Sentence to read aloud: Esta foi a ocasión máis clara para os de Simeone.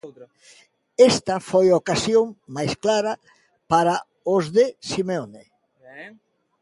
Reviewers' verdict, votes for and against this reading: rejected, 0, 2